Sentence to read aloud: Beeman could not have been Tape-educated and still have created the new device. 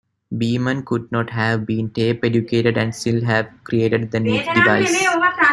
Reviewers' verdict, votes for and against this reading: rejected, 1, 2